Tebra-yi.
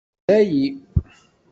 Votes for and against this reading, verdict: 0, 2, rejected